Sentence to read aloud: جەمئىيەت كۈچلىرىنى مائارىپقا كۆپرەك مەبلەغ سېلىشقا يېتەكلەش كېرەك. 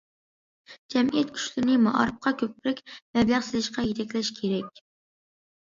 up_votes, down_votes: 2, 0